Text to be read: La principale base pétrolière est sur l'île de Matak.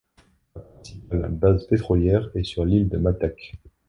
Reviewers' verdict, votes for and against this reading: rejected, 1, 2